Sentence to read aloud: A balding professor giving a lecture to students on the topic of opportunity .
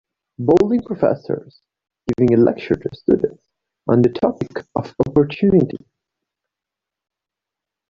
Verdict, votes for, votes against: rejected, 0, 2